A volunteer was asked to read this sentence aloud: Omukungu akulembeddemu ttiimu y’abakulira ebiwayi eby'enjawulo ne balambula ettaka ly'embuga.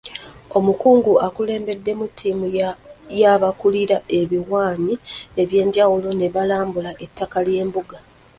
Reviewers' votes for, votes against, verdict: 0, 2, rejected